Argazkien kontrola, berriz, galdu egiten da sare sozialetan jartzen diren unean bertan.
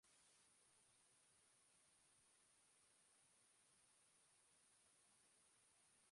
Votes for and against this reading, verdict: 0, 2, rejected